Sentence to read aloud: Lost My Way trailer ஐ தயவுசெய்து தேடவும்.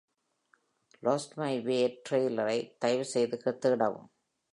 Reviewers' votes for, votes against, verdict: 1, 2, rejected